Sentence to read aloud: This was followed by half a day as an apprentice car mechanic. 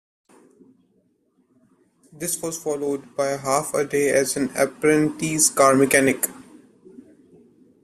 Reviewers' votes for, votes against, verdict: 2, 0, accepted